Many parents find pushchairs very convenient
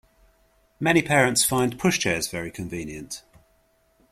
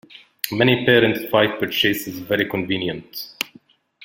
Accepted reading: first